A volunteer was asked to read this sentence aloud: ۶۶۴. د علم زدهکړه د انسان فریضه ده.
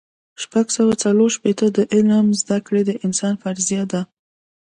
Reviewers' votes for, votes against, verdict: 0, 2, rejected